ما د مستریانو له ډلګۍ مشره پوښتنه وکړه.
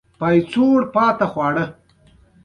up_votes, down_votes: 1, 2